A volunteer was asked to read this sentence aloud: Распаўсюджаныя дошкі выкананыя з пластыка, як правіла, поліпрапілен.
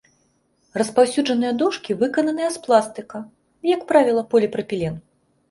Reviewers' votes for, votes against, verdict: 2, 0, accepted